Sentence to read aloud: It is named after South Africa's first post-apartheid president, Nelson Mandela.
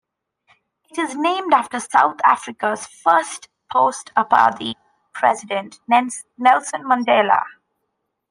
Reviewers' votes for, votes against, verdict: 0, 2, rejected